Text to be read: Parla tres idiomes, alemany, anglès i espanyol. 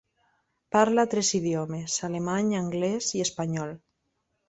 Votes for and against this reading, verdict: 0, 2, rejected